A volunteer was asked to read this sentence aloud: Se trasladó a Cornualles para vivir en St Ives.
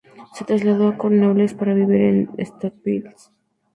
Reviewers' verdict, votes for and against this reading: rejected, 0, 2